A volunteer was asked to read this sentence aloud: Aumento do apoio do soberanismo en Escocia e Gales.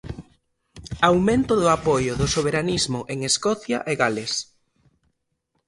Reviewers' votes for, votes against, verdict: 2, 0, accepted